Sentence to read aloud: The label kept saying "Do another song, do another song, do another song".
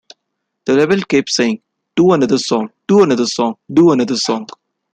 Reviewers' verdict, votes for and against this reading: accepted, 2, 0